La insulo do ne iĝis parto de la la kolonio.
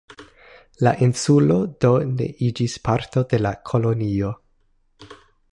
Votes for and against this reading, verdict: 0, 2, rejected